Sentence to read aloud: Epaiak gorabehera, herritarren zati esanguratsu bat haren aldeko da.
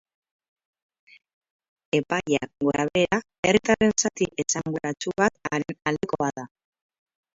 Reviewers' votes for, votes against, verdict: 0, 4, rejected